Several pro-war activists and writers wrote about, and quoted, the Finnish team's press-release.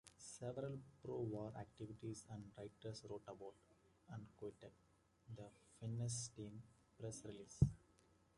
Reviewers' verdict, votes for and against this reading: rejected, 0, 2